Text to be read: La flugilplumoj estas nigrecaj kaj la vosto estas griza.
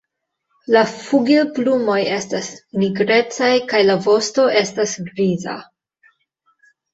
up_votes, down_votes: 0, 2